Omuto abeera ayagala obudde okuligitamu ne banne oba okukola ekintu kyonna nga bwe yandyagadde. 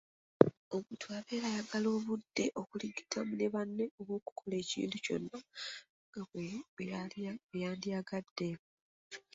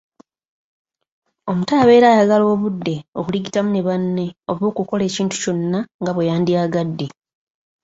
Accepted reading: second